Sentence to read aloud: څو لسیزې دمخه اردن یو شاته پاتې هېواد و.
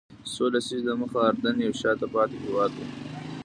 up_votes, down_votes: 1, 2